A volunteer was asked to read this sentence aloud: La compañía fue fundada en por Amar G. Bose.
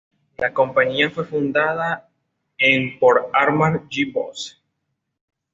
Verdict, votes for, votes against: accepted, 2, 1